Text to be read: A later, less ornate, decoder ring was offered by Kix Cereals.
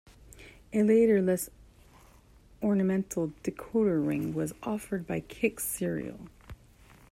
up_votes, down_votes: 0, 2